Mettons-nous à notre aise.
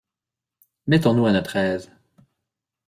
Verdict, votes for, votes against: accepted, 2, 0